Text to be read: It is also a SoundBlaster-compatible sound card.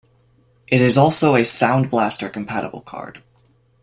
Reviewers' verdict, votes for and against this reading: rejected, 1, 2